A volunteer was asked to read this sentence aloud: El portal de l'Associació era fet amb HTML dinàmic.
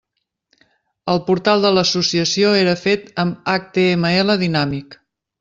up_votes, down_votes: 3, 0